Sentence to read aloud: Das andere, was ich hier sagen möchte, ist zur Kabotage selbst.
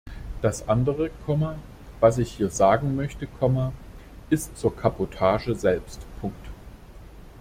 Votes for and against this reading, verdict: 0, 2, rejected